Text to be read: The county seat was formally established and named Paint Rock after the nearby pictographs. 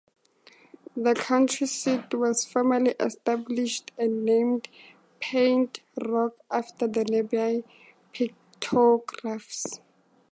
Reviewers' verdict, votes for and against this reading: accepted, 2, 0